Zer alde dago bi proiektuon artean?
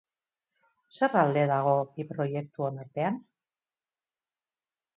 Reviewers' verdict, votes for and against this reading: accepted, 8, 0